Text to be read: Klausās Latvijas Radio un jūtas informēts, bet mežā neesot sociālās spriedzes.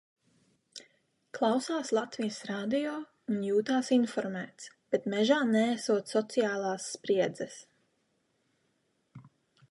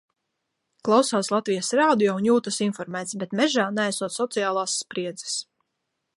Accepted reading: second